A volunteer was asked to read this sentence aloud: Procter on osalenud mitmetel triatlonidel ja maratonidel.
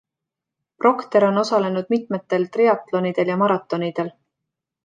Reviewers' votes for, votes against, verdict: 2, 0, accepted